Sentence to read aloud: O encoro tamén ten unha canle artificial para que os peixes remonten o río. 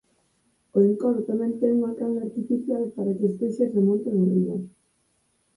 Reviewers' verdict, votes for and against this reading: rejected, 0, 4